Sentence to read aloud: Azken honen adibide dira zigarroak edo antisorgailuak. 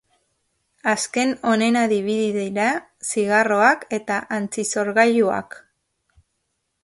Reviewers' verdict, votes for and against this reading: accepted, 2, 1